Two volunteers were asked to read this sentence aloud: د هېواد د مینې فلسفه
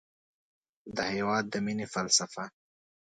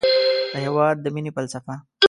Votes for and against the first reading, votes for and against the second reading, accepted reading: 2, 0, 0, 2, first